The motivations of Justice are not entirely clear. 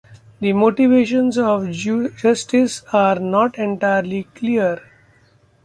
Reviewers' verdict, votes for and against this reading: rejected, 1, 2